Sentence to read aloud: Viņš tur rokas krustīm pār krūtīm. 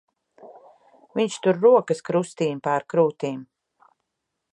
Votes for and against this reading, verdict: 2, 0, accepted